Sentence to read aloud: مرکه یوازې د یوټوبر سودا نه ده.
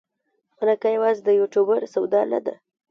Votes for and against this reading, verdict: 2, 0, accepted